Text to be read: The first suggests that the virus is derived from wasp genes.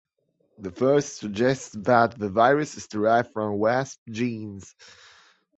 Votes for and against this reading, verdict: 1, 2, rejected